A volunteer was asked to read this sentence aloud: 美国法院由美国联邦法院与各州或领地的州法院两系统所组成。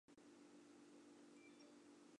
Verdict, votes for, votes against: rejected, 0, 2